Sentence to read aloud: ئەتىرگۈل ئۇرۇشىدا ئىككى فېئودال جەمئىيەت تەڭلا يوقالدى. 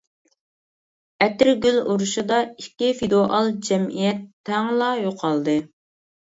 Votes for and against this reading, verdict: 1, 2, rejected